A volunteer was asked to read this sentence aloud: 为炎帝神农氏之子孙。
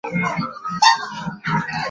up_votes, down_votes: 2, 5